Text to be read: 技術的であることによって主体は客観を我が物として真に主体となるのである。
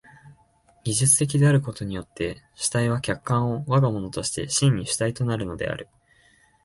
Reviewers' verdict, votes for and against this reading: rejected, 1, 2